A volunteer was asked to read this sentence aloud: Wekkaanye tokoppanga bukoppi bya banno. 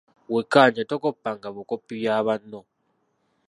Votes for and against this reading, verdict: 0, 2, rejected